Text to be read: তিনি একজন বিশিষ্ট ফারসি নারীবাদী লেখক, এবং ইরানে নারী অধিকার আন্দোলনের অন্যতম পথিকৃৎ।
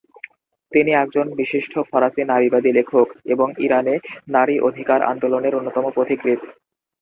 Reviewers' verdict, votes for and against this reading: accepted, 2, 0